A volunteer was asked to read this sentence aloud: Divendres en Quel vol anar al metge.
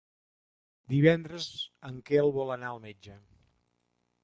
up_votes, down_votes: 3, 0